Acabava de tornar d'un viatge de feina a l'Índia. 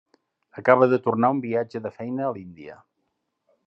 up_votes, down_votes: 1, 2